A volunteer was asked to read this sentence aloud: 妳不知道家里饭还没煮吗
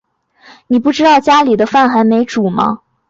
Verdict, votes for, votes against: accepted, 8, 0